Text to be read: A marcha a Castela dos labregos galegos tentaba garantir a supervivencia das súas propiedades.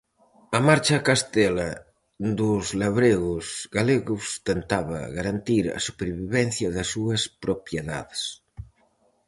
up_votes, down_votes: 4, 0